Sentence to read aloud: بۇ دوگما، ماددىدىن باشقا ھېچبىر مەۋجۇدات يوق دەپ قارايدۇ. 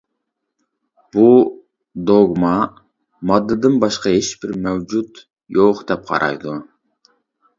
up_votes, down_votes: 0, 2